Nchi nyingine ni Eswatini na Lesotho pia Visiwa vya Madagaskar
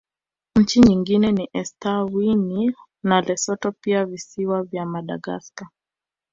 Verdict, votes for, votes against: rejected, 1, 2